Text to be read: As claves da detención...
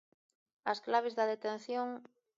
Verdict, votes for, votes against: accepted, 2, 1